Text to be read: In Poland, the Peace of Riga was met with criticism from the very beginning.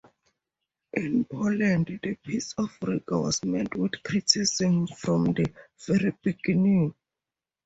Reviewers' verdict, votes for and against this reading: accepted, 2, 0